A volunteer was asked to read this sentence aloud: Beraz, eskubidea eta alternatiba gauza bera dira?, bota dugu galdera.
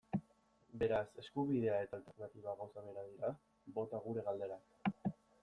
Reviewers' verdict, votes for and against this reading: rejected, 1, 2